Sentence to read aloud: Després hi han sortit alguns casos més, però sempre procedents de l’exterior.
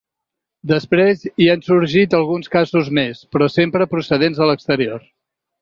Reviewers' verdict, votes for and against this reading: accepted, 2, 1